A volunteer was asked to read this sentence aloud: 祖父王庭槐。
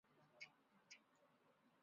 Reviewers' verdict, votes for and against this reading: rejected, 2, 4